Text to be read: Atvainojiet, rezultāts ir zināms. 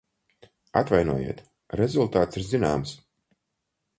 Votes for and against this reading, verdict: 4, 0, accepted